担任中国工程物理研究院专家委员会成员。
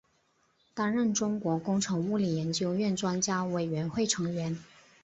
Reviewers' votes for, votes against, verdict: 2, 0, accepted